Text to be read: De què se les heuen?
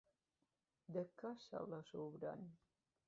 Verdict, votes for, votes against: rejected, 0, 3